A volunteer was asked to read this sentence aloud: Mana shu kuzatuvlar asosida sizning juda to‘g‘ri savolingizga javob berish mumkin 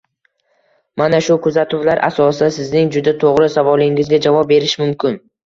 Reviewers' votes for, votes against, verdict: 1, 2, rejected